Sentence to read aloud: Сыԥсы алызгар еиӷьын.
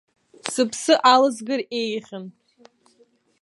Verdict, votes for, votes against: rejected, 0, 2